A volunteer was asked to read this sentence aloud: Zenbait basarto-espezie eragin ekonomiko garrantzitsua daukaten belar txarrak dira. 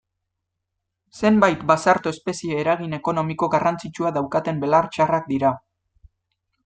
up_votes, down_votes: 2, 0